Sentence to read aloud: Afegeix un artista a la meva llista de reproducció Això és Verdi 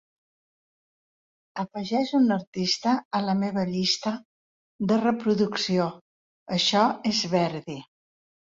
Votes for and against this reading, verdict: 2, 1, accepted